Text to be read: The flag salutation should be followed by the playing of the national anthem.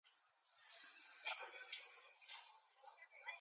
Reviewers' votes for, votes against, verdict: 0, 2, rejected